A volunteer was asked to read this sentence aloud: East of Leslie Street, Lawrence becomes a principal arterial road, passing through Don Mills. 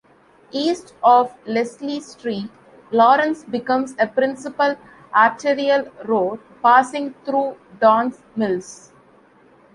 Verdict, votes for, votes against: accepted, 2, 0